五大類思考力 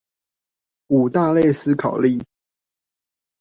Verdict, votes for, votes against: accepted, 2, 0